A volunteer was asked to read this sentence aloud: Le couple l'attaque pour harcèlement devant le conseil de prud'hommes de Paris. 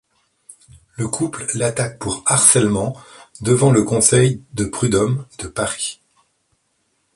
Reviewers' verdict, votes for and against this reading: accepted, 2, 0